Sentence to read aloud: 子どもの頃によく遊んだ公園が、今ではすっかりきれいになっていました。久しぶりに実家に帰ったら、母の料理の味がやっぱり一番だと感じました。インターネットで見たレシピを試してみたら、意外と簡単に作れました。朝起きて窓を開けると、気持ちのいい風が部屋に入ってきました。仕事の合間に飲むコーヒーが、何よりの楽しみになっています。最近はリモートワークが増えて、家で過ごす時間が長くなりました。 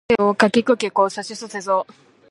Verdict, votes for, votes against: rejected, 0, 2